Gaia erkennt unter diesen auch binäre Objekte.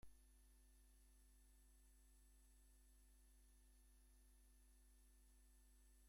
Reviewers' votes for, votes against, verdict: 0, 2, rejected